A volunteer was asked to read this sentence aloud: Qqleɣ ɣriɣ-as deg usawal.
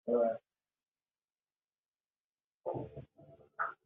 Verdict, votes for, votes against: rejected, 0, 2